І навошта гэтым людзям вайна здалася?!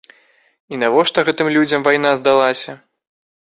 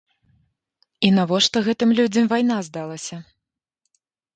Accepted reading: first